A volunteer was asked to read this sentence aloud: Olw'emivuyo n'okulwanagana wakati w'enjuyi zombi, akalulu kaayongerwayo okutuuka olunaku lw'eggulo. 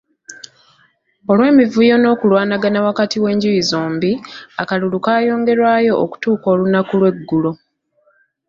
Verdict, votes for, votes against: accepted, 2, 0